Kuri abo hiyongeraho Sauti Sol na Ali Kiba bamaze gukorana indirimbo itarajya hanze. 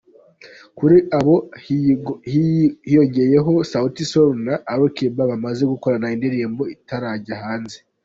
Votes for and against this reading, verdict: 1, 2, rejected